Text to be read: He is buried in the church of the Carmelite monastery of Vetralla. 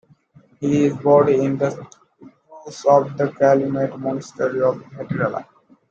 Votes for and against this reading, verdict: 0, 2, rejected